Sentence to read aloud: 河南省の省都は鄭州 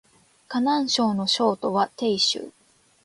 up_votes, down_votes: 2, 0